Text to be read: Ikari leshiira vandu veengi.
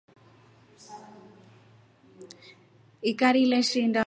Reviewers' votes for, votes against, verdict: 1, 2, rejected